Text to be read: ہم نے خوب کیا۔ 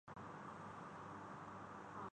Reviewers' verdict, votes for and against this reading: rejected, 0, 3